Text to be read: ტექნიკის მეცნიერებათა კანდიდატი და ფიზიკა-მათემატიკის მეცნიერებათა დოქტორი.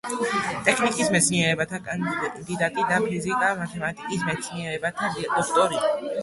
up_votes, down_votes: 2, 0